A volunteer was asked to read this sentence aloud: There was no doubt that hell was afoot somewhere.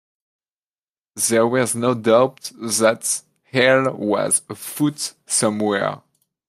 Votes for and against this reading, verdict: 2, 0, accepted